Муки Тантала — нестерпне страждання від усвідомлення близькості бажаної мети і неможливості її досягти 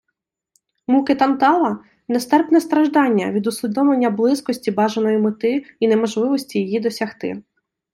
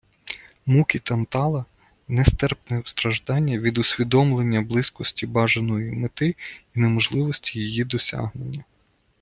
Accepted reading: first